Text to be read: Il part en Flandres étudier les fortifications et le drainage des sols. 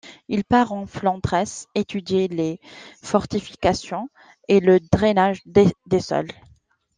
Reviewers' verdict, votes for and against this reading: rejected, 0, 2